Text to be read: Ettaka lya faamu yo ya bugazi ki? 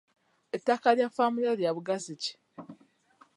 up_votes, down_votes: 0, 2